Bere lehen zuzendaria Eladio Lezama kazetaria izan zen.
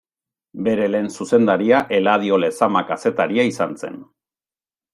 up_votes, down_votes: 2, 0